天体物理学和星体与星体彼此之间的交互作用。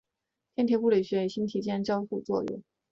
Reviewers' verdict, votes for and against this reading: rejected, 1, 2